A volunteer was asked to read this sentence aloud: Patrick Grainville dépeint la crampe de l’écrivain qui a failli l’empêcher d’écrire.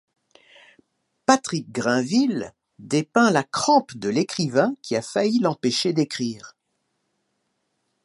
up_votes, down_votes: 2, 1